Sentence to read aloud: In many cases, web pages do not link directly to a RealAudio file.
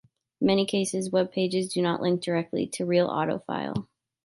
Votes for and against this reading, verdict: 0, 3, rejected